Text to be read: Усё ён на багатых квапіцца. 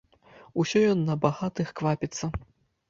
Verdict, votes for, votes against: accepted, 2, 0